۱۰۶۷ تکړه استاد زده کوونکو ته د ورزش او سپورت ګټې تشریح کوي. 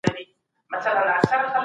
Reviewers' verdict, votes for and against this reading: rejected, 0, 2